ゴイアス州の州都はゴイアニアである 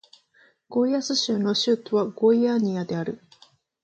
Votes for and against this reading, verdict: 0, 2, rejected